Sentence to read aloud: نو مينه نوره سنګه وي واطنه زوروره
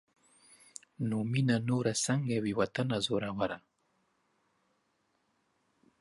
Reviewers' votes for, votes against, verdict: 2, 0, accepted